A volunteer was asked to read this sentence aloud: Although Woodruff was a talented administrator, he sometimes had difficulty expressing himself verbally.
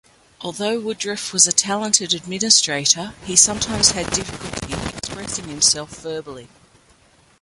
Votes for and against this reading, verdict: 0, 2, rejected